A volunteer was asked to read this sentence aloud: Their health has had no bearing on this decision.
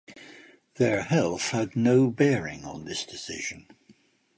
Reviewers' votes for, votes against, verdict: 1, 2, rejected